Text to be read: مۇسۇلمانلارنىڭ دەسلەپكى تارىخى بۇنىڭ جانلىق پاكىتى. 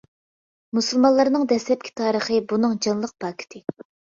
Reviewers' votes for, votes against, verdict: 2, 0, accepted